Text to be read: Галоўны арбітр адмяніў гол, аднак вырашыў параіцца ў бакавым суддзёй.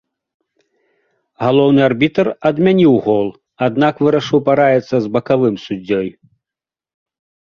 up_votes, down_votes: 2, 1